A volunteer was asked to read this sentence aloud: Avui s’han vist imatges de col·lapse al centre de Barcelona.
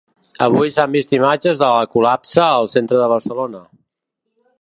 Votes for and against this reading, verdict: 0, 2, rejected